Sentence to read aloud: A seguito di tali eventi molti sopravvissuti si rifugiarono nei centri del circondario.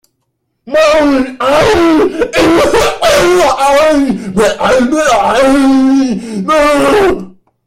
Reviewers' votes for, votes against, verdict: 0, 2, rejected